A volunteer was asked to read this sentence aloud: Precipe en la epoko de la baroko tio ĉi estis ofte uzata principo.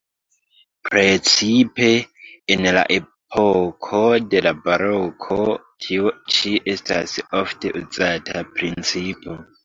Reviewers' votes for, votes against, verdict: 0, 2, rejected